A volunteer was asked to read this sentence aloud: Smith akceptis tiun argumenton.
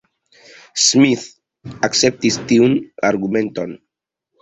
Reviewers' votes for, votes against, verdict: 2, 1, accepted